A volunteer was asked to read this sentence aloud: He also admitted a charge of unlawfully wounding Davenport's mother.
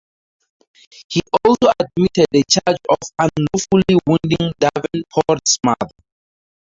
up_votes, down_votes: 0, 4